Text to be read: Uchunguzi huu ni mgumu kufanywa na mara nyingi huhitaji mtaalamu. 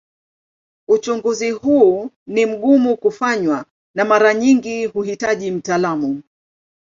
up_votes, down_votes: 2, 0